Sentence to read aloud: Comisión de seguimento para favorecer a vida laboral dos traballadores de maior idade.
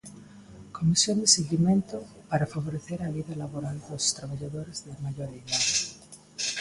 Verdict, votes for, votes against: rejected, 1, 2